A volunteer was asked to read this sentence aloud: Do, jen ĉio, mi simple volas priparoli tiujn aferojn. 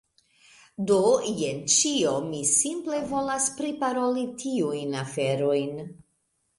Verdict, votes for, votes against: accepted, 2, 0